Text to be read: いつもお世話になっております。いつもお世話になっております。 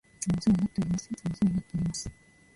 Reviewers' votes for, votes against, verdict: 0, 2, rejected